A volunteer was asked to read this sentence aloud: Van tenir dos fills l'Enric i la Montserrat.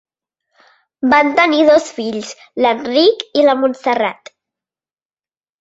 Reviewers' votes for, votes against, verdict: 4, 0, accepted